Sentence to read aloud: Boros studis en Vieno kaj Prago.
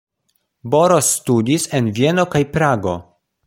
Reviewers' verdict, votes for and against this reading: accepted, 2, 0